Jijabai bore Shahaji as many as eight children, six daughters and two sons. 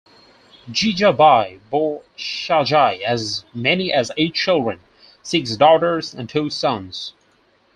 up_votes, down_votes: 4, 2